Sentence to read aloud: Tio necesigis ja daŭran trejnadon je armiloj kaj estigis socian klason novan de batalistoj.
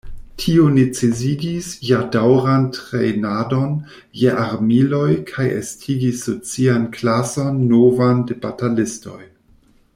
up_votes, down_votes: 0, 2